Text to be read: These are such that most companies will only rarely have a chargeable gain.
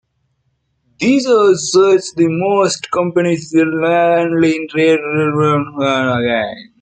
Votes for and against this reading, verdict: 0, 2, rejected